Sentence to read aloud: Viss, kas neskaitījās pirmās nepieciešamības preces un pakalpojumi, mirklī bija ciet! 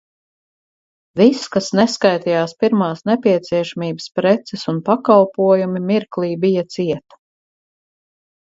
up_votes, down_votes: 4, 0